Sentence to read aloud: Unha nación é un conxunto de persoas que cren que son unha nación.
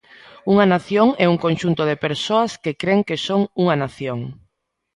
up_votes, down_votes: 2, 0